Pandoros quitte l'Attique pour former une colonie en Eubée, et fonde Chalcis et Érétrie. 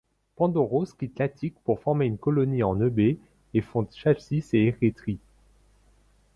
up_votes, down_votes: 2, 0